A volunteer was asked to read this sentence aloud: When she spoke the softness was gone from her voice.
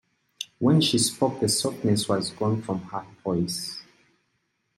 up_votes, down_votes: 2, 0